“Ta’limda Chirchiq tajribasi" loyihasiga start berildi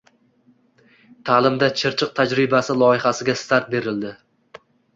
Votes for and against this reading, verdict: 2, 0, accepted